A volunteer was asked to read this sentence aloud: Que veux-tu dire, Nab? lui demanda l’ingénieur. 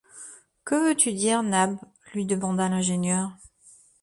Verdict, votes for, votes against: accepted, 2, 0